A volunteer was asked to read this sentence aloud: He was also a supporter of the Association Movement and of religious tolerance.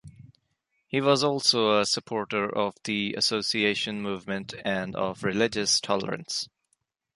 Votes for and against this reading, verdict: 3, 0, accepted